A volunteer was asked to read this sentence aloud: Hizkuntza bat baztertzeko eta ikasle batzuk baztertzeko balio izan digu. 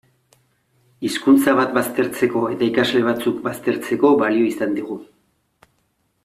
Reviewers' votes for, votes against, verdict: 2, 0, accepted